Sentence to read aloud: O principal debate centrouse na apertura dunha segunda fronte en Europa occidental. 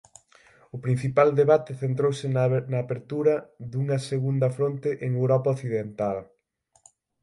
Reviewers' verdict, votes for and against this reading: accepted, 6, 0